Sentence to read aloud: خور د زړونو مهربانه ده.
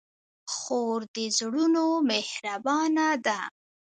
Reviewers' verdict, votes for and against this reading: accepted, 2, 0